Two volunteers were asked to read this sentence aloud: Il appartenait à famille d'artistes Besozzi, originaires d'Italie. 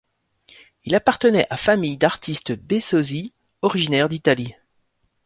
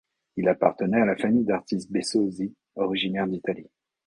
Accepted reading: first